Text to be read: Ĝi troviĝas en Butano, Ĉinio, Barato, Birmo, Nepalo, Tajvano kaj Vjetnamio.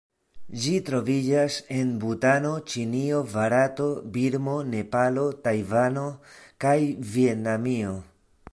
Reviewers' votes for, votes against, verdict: 2, 1, accepted